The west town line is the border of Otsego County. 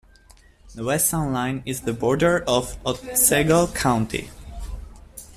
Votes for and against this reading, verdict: 2, 1, accepted